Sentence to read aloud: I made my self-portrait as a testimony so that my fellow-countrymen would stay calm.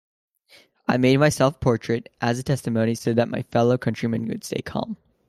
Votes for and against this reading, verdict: 2, 1, accepted